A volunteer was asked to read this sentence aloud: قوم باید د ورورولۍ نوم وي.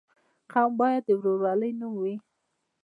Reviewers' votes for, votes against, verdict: 1, 2, rejected